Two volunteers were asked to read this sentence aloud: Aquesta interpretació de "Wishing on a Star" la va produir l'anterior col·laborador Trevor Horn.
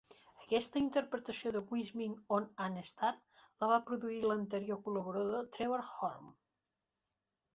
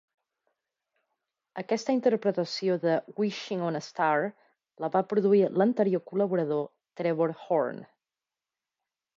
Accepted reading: second